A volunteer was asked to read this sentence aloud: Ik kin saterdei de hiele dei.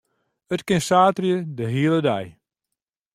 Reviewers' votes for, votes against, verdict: 0, 2, rejected